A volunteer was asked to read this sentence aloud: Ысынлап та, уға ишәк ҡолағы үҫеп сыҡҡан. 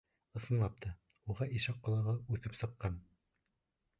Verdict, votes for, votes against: accepted, 2, 0